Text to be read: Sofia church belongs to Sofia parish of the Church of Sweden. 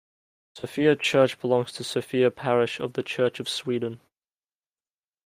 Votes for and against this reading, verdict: 2, 0, accepted